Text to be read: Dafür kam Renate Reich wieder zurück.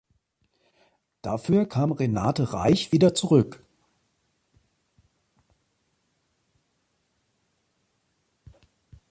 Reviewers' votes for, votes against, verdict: 2, 0, accepted